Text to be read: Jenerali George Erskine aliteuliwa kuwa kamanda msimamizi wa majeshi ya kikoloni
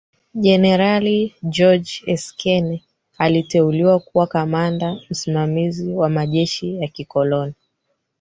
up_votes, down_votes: 2, 3